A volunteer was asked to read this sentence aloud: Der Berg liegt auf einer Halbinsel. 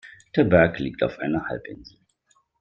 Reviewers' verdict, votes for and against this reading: accepted, 2, 0